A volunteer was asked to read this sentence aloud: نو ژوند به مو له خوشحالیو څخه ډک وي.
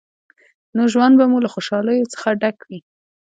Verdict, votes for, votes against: accepted, 2, 1